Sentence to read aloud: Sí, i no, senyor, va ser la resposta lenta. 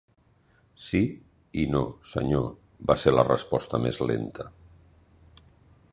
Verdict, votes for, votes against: rejected, 1, 2